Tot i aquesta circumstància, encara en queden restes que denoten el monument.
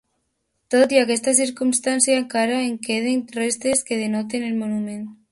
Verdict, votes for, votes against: accepted, 2, 0